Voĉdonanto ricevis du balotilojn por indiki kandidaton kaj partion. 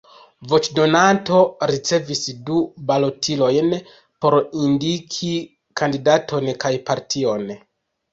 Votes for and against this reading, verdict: 2, 0, accepted